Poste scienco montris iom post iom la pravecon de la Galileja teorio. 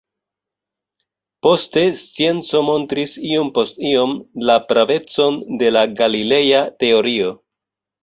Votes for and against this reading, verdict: 0, 2, rejected